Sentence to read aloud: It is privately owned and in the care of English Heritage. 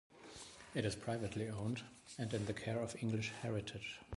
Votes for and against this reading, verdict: 2, 0, accepted